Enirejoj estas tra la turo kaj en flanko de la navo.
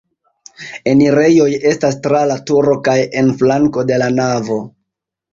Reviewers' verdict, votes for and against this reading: accepted, 2, 0